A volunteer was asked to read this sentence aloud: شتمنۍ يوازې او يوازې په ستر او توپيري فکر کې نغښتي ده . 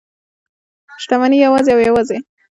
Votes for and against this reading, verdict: 0, 2, rejected